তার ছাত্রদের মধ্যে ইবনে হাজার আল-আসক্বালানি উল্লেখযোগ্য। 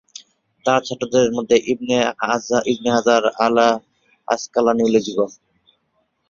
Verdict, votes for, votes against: rejected, 0, 2